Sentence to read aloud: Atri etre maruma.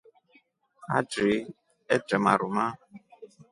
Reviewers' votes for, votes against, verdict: 2, 0, accepted